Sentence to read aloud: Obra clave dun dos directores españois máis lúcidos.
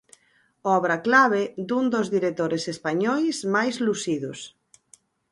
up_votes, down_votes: 2, 4